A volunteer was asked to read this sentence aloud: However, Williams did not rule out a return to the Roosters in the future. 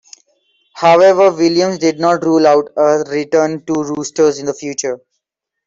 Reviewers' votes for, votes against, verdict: 1, 2, rejected